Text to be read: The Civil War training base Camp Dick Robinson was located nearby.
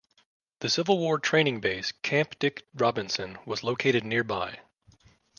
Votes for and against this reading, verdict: 2, 0, accepted